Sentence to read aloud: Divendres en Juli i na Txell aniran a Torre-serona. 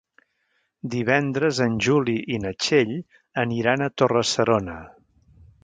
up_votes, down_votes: 3, 0